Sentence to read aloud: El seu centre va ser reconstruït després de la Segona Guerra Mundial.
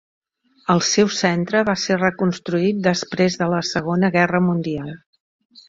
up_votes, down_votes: 3, 0